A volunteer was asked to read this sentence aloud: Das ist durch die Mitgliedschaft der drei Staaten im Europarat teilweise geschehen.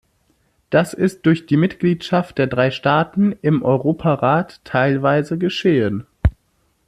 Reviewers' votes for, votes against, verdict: 2, 0, accepted